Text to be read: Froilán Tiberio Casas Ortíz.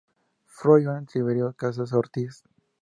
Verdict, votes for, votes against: rejected, 0, 2